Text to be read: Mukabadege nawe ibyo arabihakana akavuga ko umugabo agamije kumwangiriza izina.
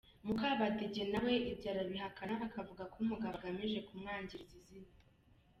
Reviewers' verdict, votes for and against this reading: accepted, 2, 0